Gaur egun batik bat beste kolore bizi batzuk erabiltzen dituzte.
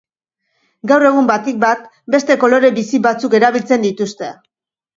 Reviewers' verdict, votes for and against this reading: accepted, 3, 0